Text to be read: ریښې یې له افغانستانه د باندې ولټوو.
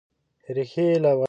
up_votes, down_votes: 1, 2